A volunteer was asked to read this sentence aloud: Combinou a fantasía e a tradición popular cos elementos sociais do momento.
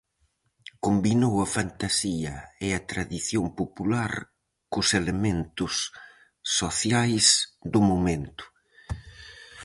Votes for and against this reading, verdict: 4, 0, accepted